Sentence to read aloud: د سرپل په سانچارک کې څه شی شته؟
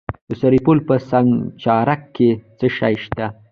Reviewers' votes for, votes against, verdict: 2, 0, accepted